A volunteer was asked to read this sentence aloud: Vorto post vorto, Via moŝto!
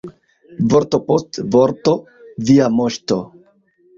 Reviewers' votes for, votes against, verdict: 1, 2, rejected